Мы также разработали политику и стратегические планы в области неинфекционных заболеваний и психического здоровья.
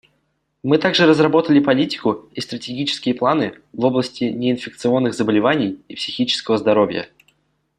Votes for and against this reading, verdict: 2, 0, accepted